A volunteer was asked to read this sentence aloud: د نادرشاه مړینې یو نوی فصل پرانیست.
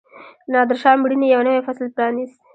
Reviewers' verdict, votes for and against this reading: rejected, 1, 2